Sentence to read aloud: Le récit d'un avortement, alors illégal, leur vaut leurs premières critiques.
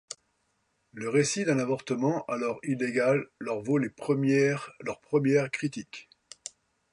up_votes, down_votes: 0, 2